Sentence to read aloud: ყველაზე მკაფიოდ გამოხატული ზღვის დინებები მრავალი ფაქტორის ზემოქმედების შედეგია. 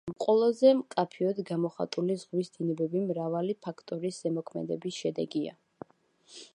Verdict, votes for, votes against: accepted, 2, 0